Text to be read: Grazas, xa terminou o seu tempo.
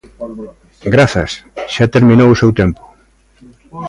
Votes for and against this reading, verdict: 0, 2, rejected